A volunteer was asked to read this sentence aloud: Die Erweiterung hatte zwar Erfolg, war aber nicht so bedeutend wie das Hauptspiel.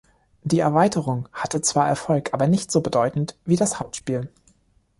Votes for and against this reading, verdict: 1, 2, rejected